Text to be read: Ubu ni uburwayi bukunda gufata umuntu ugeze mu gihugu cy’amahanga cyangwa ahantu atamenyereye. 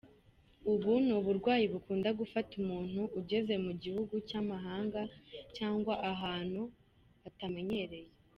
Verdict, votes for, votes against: accepted, 2, 0